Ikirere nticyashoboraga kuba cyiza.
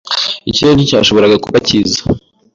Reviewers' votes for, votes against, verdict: 2, 0, accepted